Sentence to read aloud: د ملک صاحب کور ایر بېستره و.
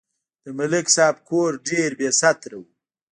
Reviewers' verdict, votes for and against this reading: rejected, 0, 2